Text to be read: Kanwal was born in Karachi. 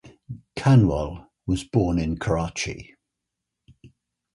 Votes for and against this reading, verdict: 3, 0, accepted